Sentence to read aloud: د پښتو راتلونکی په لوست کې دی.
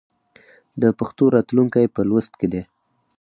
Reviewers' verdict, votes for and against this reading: accepted, 4, 0